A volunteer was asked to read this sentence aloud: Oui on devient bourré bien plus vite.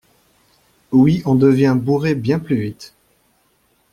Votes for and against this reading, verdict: 2, 0, accepted